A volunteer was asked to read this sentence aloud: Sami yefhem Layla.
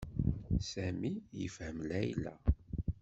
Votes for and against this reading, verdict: 2, 0, accepted